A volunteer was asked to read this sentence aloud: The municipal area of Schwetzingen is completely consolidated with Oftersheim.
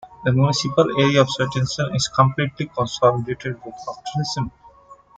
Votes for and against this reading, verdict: 1, 2, rejected